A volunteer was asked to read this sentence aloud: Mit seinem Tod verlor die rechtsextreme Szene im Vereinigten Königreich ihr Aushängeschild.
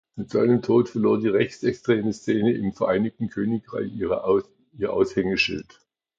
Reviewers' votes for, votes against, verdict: 0, 2, rejected